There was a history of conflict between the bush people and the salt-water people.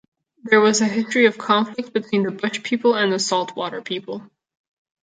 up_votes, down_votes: 0, 2